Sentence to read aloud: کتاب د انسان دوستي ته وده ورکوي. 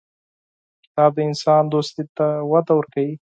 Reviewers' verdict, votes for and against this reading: accepted, 4, 0